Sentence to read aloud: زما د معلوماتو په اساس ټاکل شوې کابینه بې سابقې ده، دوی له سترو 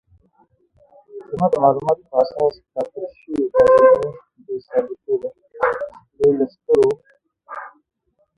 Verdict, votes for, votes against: rejected, 1, 2